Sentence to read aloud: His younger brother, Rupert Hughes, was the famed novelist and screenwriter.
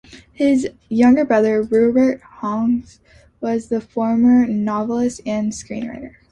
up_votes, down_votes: 2, 0